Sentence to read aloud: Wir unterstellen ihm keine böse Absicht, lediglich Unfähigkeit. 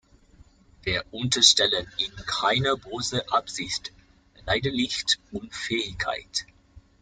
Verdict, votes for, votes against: rejected, 1, 2